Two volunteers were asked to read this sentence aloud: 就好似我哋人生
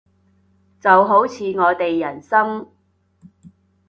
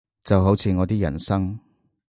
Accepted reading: first